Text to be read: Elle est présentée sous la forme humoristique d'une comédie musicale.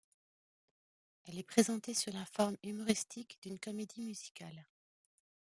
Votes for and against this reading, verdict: 2, 1, accepted